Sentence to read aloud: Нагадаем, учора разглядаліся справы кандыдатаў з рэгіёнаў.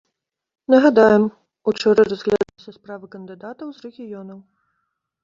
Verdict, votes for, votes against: rejected, 1, 2